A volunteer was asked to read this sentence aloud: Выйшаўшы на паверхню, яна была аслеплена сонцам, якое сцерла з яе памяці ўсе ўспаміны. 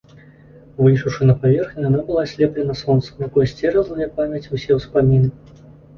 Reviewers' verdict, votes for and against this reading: rejected, 0, 2